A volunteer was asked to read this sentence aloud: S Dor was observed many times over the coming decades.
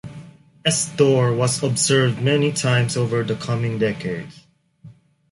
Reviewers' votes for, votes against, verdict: 1, 3, rejected